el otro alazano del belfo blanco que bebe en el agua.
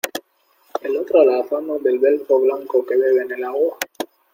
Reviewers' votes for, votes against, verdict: 2, 1, accepted